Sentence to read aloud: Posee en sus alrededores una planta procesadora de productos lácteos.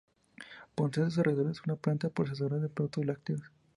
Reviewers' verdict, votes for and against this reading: accepted, 2, 0